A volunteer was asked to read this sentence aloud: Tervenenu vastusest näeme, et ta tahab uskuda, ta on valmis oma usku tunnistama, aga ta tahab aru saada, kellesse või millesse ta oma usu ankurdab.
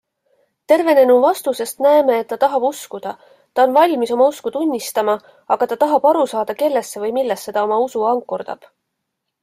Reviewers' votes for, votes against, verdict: 2, 0, accepted